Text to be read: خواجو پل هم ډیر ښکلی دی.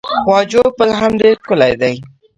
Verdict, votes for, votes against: rejected, 0, 2